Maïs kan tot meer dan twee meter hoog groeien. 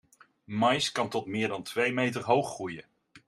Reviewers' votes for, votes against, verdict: 2, 0, accepted